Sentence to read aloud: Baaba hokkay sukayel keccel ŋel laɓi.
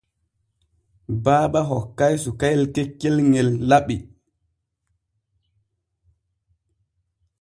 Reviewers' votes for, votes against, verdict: 2, 0, accepted